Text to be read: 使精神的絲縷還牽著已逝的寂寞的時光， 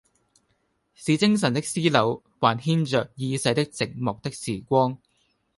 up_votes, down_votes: 2, 1